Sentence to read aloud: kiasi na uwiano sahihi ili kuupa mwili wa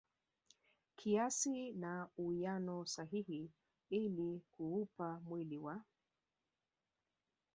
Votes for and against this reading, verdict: 0, 2, rejected